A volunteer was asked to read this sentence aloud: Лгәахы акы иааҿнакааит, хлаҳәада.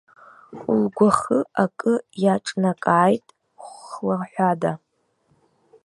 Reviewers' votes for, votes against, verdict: 0, 2, rejected